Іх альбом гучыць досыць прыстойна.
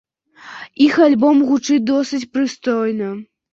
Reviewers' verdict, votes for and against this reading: accepted, 2, 0